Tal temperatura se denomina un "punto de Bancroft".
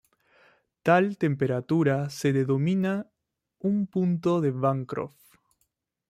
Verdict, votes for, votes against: rejected, 1, 2